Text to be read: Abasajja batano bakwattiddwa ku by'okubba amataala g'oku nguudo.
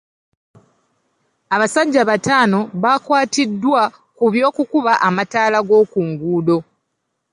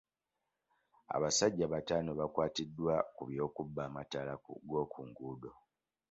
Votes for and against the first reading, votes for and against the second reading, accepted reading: 2, 1, 1, 2, first